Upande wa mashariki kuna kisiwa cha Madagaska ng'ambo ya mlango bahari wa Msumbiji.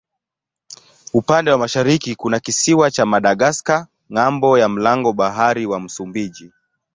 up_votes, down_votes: 2, 0